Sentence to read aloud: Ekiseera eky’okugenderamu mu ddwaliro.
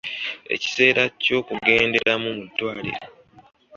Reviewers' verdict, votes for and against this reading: accepted, 2, 0